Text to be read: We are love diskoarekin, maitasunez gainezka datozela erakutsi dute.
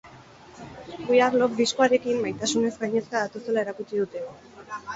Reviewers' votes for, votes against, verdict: 2, 6, rejected